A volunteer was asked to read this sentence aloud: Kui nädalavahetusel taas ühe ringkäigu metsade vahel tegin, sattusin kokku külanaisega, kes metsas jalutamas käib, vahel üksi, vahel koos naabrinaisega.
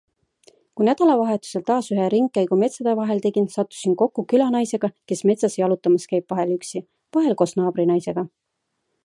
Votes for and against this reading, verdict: 2, 0, accepted